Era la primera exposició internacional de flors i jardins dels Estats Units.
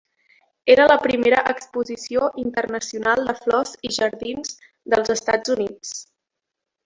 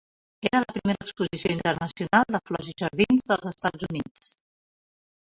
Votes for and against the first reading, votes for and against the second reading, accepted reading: 3, 0, 0, 2, first